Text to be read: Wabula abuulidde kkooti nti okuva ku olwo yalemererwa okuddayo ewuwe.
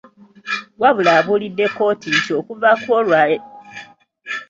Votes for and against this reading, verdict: 0, 2, rejected